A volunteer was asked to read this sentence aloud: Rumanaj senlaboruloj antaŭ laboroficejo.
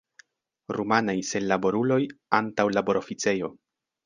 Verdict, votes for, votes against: accepted, 2, 0